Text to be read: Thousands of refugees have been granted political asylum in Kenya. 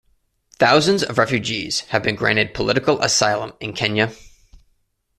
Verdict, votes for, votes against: accepted, 2, 0